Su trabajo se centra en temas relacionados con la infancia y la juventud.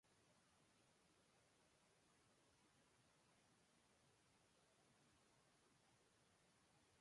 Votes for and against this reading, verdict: 0, 2, rejected